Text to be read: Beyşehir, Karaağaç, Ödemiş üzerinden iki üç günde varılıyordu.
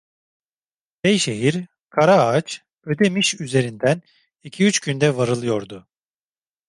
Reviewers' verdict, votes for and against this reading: accepted, 2, 0